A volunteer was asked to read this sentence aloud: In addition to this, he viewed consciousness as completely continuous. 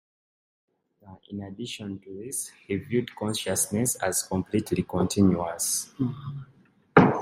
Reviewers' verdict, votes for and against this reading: accepted, 2, 0